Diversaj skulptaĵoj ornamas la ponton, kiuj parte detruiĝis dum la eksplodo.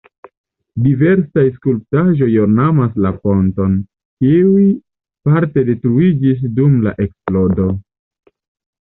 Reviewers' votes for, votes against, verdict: 2, 0, accepted